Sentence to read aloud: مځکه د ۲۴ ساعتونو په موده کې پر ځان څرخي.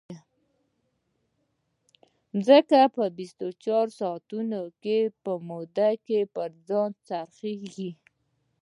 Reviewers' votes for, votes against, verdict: 0, 2, rejected